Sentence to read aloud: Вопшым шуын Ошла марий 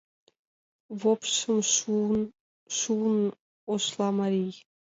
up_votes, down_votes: 0, 2